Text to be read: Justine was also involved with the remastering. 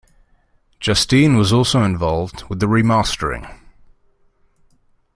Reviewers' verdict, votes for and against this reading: accepted, 2, 0